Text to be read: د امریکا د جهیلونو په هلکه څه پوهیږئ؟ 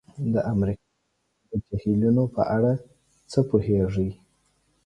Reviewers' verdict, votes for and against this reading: rejected, 1, 2